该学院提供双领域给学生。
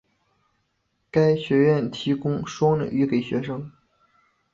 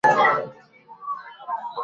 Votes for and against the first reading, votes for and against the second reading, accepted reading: 2, 0, 1, 2, first